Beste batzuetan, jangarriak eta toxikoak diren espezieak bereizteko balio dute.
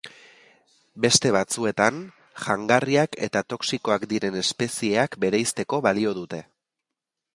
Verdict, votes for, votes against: accepted, 4, 0